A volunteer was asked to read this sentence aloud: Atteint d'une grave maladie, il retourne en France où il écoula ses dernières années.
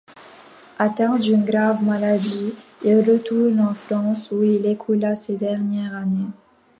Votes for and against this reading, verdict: 1, 2, rejected